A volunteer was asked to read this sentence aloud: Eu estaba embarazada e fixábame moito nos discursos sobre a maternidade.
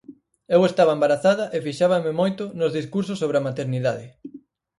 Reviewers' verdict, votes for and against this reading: accepted, 4, 0